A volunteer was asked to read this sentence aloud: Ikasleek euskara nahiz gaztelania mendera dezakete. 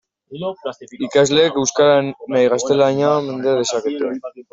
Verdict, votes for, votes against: rejected, 0, 2